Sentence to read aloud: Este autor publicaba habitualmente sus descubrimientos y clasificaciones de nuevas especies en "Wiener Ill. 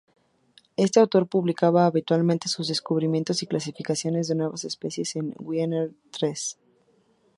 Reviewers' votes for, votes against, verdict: 2, 0, accepted